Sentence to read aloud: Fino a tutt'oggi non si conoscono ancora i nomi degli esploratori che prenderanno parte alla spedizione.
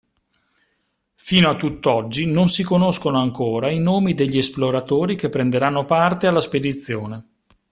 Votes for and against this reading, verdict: 2, 0, accepted